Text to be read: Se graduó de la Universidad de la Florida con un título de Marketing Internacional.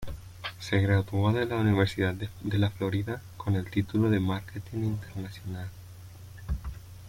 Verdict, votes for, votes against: rejected, 1, 2